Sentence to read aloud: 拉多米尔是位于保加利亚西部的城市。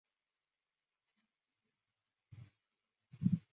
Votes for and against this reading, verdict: 0, 2, rejected